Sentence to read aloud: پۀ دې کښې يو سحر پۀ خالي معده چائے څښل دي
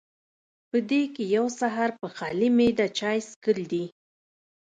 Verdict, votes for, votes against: rejected, 1, 2